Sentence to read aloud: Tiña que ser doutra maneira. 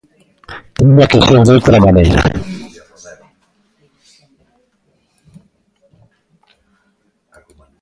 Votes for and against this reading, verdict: 0, 2, rejected